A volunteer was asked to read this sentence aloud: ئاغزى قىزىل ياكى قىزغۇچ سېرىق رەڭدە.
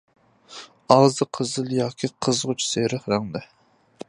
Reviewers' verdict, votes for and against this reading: accepted, 2, 0